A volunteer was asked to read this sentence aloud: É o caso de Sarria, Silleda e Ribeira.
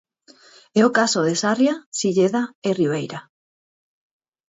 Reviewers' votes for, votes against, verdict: 4, 0, accepted